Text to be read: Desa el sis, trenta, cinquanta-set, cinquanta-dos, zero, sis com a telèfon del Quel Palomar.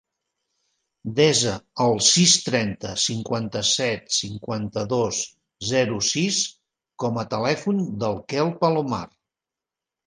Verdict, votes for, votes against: accepted, 3, 0